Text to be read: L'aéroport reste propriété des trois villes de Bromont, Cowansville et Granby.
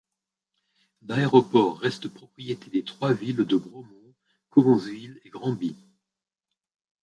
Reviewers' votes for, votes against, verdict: 1, 2, rejected